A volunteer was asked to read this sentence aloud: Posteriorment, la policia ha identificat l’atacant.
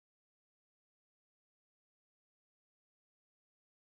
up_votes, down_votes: 0, 2